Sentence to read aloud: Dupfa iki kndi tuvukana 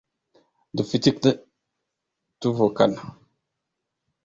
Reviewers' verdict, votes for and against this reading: rejected, 1, 2